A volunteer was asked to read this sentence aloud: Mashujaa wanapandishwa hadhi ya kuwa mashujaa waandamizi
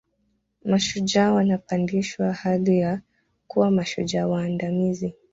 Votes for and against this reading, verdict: 2, 0, accepted